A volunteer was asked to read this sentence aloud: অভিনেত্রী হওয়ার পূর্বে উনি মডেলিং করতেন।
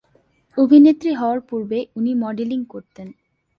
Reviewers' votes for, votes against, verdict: 2, 0, accepted